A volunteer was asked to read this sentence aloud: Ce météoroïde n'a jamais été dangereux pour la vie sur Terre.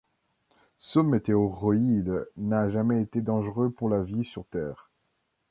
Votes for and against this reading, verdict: 2, 0, accepted